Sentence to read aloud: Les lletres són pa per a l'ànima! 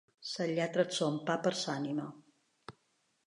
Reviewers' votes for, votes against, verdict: 1, 2, rejected